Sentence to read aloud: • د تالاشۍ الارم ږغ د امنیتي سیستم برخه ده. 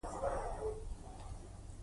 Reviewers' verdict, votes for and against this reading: rejected, 1, 2